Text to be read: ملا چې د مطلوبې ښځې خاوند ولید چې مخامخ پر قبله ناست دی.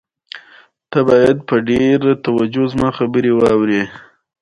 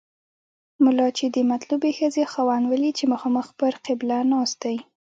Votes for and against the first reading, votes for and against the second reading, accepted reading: 2, 0, 1, 2, first